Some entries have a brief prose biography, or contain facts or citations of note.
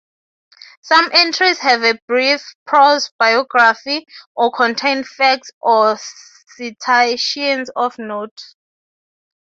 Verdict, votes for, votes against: accepted, 3, 0